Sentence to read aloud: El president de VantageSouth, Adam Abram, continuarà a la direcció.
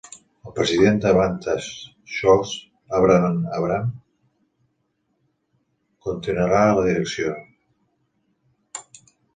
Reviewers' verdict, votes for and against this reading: rejected, 0, 2